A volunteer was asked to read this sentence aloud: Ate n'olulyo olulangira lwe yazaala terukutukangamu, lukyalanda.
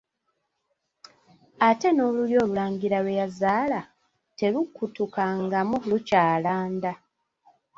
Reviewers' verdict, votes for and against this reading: rejected, 1, 2